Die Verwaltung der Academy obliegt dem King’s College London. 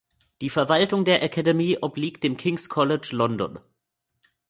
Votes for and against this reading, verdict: 2, 0, accepted